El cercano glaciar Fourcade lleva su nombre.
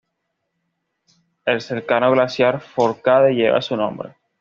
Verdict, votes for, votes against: accepted, 2, 0